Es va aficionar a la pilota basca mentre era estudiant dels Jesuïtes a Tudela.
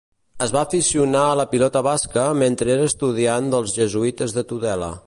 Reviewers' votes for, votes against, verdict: 0, 2, rejected